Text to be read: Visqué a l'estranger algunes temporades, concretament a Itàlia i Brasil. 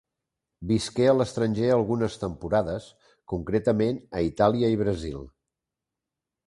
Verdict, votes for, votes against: accepted, 2, 0